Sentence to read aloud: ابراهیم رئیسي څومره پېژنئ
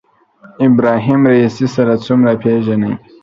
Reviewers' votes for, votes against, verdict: 1, 2, rejected